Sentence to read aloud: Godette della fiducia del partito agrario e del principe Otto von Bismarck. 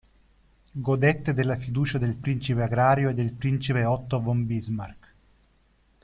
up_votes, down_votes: 0, 2